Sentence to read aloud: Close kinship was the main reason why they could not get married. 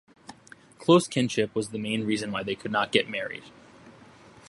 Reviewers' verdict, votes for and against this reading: accepted, 2, 0